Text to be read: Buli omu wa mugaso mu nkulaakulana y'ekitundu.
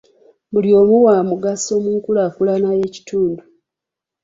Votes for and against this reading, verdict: 2, 0, accepted